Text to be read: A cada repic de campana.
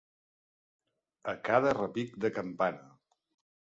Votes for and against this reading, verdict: 2, 0, accepted